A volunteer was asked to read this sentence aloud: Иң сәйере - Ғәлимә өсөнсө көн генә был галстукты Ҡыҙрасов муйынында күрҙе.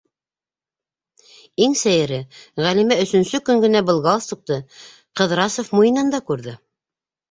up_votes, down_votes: 2, 1